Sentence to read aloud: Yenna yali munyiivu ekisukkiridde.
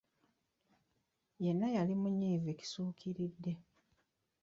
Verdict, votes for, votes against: rejected, 0, 2